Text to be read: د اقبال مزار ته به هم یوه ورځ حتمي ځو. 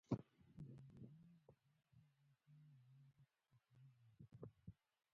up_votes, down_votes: 1, 2